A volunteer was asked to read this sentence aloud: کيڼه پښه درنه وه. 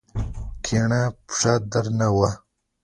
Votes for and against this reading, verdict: 2, 0, accepted